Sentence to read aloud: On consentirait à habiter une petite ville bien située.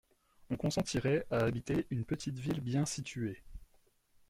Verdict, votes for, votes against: rejected, 1, 2